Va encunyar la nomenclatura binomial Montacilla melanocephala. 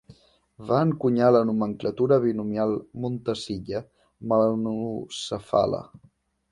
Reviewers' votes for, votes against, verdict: 1, 2, rejected